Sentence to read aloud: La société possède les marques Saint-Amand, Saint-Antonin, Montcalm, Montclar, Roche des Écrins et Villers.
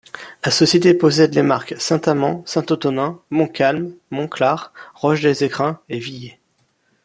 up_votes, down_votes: 2, 3